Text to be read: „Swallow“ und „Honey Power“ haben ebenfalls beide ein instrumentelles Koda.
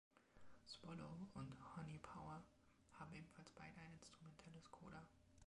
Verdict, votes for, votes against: accepted, 2, 0